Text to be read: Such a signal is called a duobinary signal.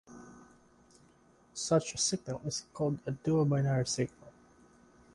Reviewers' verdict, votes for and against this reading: accepted, 2, 0